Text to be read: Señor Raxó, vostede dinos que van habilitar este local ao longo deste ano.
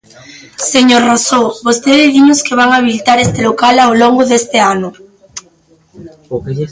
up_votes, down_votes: 0, 2